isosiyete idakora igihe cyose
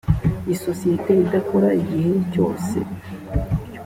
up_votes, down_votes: 2, 0